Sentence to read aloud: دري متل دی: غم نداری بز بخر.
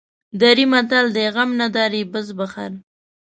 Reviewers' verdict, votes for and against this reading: rejected, 0, 2